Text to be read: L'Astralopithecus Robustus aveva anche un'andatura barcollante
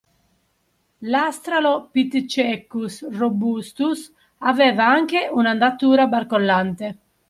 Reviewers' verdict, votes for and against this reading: rejected, 0, 2